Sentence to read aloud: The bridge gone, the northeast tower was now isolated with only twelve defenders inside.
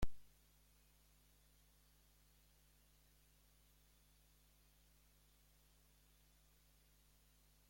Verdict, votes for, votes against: rejected, 0, 2